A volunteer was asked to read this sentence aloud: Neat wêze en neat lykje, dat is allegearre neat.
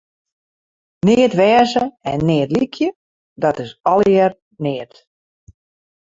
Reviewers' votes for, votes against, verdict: 2, 2, rejected